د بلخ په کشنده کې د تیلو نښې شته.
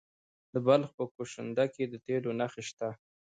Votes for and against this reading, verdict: 1, 2, rejected